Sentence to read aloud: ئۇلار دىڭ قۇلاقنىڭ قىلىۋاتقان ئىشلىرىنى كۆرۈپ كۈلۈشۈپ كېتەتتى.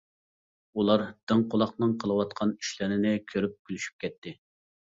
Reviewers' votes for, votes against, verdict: 1, 2, rejected